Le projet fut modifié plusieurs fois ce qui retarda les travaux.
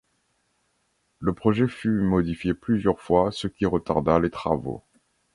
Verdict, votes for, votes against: accepted, 2, 0